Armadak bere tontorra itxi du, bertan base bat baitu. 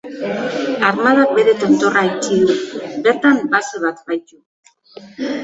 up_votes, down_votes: 0, 2